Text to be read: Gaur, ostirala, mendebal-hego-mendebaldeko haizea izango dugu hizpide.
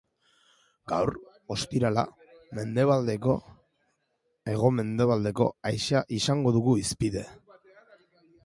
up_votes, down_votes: 0, 2